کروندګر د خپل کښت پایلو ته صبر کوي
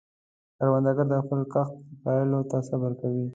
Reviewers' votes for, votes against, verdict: 3, 1, accepted